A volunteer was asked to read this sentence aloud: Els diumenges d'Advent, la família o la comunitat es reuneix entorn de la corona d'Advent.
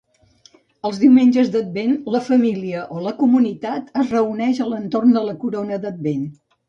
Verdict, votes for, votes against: rejected, 1, 2